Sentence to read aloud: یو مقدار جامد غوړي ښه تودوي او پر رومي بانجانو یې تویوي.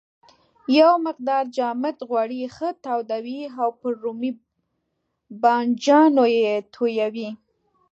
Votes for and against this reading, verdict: 0, 2, rejected